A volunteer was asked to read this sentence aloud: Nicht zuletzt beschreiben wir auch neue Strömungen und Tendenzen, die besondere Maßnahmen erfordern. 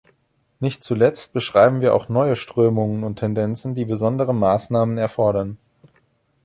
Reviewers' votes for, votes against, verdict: 2, 0, accepted